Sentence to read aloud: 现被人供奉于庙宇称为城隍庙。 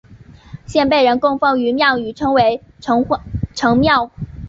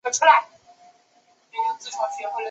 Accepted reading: first